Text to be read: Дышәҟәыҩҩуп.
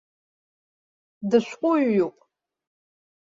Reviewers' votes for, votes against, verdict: 2, 0, accepted